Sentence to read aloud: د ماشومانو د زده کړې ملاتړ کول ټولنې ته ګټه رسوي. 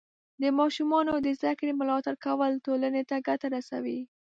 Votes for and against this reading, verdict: 2, 0, accepted